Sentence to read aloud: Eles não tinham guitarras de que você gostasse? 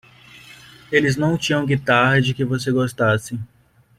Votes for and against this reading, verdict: 0, 2, rejected